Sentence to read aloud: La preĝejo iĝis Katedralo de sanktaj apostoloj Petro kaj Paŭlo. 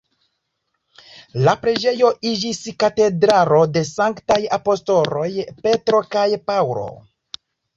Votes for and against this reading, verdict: 1, 2, rejected